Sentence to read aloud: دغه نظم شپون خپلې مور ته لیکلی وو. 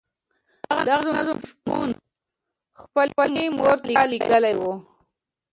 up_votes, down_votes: 0, 2